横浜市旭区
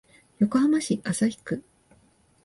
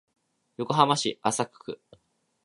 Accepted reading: first